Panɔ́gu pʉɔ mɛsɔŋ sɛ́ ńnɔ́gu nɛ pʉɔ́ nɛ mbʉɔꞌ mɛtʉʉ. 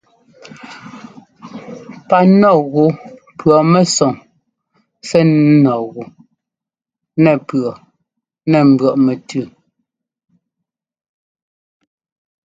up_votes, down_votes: 0, 2